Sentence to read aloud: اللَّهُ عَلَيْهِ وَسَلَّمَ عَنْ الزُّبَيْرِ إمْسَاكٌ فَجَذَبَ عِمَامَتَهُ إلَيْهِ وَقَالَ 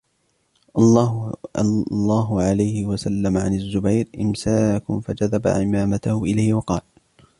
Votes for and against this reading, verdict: 1, 2, rejected